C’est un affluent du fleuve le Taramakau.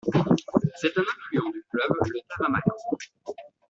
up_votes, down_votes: 0, 2